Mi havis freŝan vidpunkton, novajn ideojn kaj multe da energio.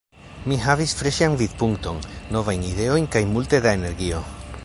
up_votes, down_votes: 2, 0